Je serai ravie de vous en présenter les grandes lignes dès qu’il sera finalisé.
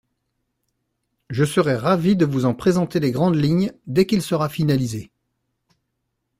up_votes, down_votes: 2, 0